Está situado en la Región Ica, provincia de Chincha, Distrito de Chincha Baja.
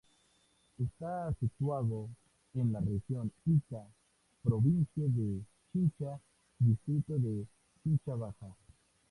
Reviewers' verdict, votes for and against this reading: accepted, 4, 0